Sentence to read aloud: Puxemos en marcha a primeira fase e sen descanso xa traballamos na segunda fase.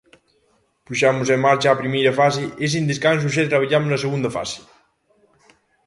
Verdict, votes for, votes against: accepted, 2, 0